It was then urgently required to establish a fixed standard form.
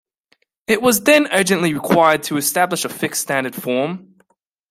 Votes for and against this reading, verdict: 2, 0, accepted